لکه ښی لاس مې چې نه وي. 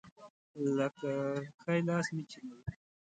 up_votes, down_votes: 0, 2